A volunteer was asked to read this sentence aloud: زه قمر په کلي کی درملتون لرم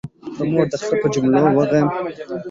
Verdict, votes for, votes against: rejected, 0, 2